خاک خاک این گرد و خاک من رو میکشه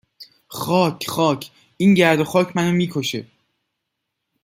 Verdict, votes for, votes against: accepted, 2, 0